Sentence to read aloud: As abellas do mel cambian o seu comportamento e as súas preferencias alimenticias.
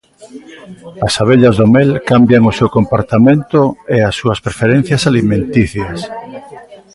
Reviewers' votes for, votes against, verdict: 1, 2, rejected